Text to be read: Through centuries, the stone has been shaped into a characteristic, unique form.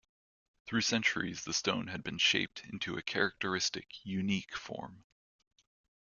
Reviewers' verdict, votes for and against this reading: accepted, 2, 1